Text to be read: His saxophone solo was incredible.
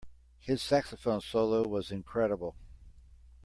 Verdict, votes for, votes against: accepted, 2, 0